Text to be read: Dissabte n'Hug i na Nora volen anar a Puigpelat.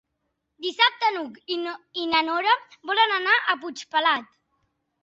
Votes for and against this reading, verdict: 0, 2, rejected